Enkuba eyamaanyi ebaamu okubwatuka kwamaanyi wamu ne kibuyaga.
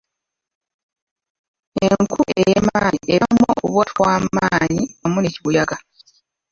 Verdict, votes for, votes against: rejected, 0, 3